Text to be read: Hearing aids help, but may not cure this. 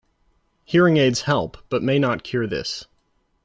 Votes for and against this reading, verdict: 2, 0, accepted